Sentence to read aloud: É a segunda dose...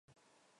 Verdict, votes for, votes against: rejected, 0, 2